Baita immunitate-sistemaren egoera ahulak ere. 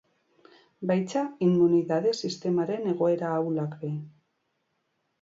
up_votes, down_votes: 2, 2